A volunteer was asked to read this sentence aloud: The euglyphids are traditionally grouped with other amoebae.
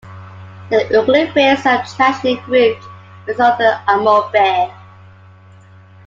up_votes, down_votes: 0, 2